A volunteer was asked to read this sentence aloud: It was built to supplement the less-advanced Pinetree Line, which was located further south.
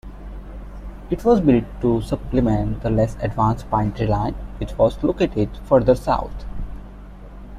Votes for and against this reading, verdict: 2, 0, accepted